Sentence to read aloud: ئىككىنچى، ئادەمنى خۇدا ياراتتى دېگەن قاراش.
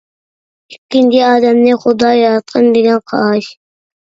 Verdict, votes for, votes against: rejected, 0, 2